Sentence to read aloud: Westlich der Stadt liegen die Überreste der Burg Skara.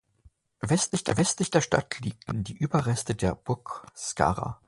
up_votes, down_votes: 0, 2